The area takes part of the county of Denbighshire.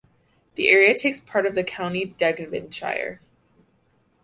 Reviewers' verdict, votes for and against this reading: rejected, 0, 2